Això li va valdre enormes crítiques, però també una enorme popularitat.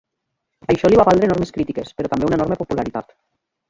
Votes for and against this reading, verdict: 2, 0, accepted